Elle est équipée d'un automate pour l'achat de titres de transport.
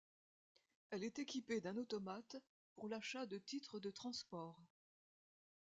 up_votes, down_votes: 2, 1